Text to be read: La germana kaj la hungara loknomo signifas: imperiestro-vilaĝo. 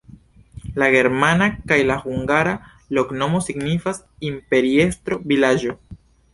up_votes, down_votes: 2, 0